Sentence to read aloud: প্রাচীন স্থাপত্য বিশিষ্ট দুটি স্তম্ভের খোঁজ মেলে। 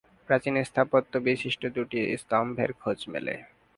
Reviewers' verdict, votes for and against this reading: accepted, 2, 1